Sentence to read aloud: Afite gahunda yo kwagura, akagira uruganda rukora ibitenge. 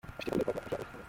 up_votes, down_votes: 0, 2